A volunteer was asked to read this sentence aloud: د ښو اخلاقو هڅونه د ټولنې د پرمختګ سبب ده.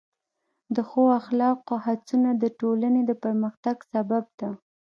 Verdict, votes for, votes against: accepted, 2, 0